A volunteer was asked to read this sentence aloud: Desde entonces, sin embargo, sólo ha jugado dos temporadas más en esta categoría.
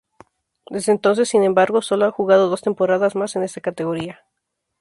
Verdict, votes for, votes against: rejected, 2, 2